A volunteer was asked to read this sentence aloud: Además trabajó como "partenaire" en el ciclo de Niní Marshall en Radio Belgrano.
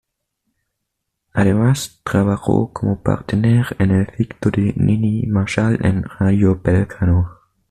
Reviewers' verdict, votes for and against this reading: rejected, 1, 2